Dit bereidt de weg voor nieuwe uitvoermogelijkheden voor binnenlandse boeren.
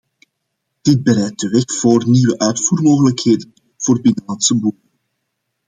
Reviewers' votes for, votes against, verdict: 0, 2, rejected